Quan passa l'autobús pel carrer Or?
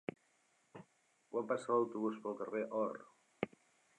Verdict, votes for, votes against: accepted, 3, 1